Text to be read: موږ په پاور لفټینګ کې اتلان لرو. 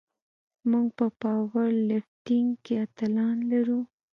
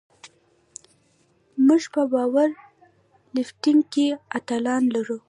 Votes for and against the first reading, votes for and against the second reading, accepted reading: 2, 0, 0, 2, first